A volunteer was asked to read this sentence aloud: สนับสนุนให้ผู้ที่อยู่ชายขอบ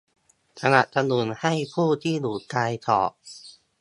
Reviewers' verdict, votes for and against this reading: rejected, 1, 2